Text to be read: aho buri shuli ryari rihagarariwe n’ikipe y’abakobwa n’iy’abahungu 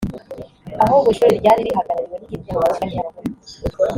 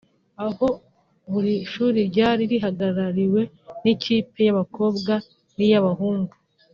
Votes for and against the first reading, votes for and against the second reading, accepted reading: 1, 2, 2, 0, second